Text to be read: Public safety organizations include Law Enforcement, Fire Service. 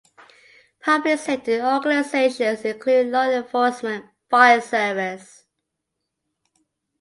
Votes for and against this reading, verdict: 2, 1, accepted